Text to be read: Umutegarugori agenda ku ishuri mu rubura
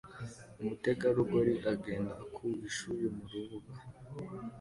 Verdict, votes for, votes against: accepted, 2, 0